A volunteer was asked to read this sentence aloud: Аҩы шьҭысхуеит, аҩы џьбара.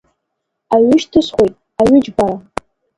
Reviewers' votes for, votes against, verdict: 1, 2, rejected